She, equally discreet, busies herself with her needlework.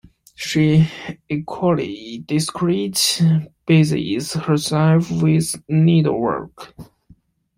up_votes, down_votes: 1, 2